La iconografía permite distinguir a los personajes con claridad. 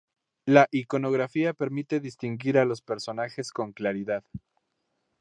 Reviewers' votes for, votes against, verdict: 2, 0, accepted